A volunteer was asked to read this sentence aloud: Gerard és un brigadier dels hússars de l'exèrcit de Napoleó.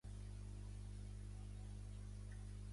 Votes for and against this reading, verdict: 0, 2, rejected